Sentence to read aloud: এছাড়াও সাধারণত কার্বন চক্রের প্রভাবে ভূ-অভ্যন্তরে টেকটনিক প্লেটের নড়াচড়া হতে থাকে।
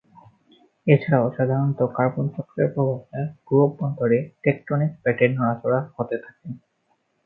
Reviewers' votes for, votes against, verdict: 5, 5, rejected